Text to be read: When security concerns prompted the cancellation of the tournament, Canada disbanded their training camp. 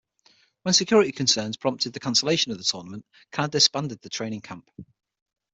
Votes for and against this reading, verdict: 6, 3, accepted